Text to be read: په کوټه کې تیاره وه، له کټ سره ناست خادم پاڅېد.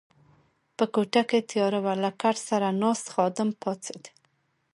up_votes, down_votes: 2, 0